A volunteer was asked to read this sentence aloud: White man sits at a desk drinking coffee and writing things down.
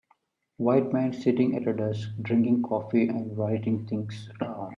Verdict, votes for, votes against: rejected, 3, 4